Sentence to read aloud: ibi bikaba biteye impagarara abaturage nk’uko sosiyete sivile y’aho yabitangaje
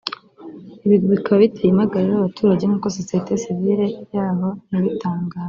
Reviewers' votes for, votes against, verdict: 0, 2, rejected